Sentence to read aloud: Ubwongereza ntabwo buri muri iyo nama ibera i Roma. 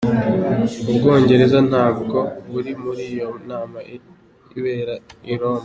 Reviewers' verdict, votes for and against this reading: accepted, 2, 0